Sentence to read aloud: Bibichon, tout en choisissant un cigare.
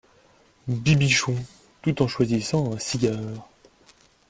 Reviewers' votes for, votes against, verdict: 3, 0, accepted